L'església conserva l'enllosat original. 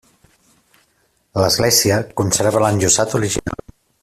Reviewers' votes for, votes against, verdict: 1, 2, rejected